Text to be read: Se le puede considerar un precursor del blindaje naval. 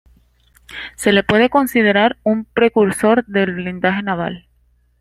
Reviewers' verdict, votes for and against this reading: accepted, 2, 1